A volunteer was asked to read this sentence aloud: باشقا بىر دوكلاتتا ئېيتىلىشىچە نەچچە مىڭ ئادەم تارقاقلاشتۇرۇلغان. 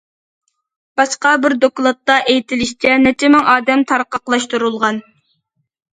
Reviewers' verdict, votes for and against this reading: accepted, 2, 0